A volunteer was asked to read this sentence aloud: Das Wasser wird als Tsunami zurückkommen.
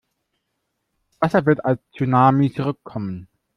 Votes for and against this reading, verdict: 0, 2, rejected